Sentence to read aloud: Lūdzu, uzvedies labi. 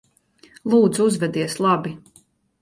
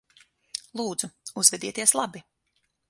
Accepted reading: first